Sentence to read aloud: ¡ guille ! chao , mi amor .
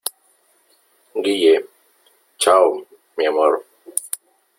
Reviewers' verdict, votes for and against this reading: accepted, 2, 0